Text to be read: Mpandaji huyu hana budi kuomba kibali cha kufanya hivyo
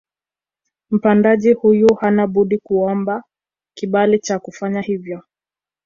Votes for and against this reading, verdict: 2, 1, accepted